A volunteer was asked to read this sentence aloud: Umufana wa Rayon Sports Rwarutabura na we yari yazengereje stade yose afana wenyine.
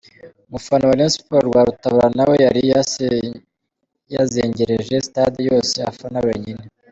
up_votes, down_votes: 1, 2